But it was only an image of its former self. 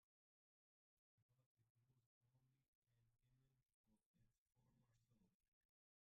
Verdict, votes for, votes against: rejected, 0, 2